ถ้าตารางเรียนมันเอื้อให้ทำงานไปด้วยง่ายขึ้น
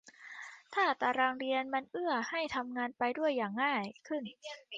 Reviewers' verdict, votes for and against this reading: rejected, 0, 2